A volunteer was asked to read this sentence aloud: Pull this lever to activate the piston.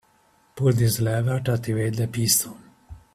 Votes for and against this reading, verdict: 0, 2, rejected